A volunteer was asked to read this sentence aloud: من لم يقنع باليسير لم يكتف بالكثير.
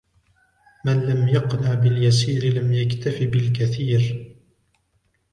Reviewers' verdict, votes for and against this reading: rejected, 1, 2